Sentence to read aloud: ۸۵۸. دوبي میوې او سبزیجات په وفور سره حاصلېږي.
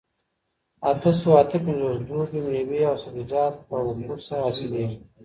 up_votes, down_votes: 0, 2